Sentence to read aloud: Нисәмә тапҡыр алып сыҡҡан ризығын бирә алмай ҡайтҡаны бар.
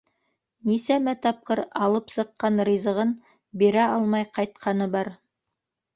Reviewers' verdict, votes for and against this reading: accepted, 3, 0